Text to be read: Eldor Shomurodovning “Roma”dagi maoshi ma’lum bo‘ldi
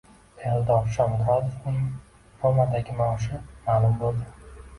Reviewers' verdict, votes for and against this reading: rejected, 1, 2